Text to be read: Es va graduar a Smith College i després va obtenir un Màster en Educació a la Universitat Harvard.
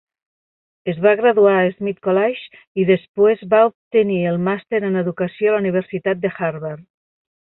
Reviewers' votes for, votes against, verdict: 2, 3, rejected